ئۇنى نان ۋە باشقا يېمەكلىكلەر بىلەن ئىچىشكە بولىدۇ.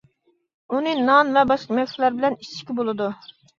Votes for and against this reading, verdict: 2, 0, accepted